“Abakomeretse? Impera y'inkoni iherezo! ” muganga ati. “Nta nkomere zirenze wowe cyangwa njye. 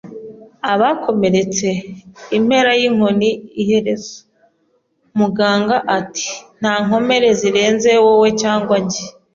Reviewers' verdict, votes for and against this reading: accepted, 2, 0